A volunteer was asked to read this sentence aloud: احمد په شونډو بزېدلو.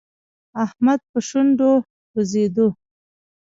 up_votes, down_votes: 1, 2